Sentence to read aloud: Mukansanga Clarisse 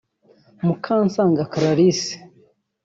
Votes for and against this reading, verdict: 0, 2, rejected